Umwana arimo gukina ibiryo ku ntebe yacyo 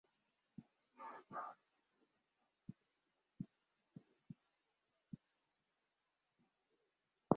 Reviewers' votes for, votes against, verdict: 1, 2, rejected